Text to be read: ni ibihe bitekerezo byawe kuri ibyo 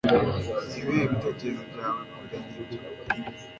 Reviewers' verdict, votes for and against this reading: accepted, 2, 0